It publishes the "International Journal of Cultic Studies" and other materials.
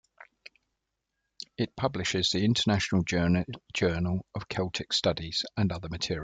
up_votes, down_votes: 1, 2